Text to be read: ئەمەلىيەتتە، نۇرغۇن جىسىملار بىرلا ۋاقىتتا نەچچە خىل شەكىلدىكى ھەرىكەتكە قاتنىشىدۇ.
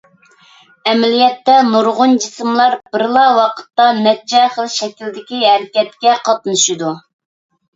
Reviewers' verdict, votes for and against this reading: accepted, 2, 0